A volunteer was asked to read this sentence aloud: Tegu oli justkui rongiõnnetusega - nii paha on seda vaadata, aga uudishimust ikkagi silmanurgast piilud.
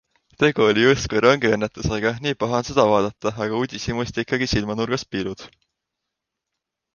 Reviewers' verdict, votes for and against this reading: accepted, 2, 0